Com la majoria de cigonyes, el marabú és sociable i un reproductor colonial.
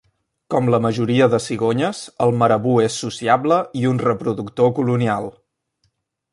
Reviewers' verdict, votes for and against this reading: accepted, 2, 0